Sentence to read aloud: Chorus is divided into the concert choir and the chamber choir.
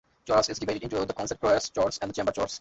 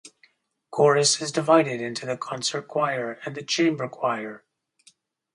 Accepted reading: second